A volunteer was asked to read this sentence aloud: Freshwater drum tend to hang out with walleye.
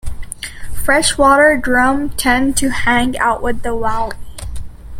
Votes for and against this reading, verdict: 0, 2, rejected